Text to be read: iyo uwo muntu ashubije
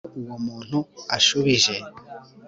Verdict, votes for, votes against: accepted, 2, 0